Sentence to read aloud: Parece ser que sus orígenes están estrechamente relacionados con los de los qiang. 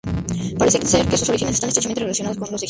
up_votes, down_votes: 0, 2